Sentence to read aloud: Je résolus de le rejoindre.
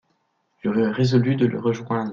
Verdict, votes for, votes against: rejected, 0, 2